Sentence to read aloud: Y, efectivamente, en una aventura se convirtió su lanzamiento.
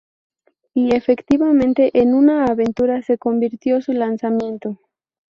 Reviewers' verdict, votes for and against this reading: accepted, 2, 0